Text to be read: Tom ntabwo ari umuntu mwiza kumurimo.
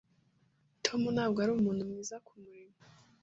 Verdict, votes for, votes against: rejected, 1, 2